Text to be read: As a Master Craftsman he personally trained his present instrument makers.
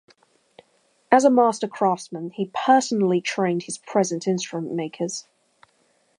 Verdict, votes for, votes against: rejected, 0, 2